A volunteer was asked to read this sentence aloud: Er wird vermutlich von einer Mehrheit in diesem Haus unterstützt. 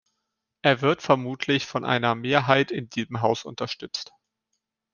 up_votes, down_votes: 2, 0